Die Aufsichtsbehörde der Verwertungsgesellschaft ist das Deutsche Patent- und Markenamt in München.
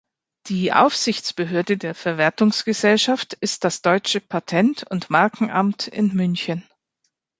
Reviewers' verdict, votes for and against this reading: accepted, 2, 0